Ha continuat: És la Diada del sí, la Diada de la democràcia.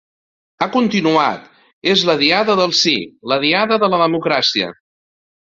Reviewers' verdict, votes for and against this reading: accepted, 2, 0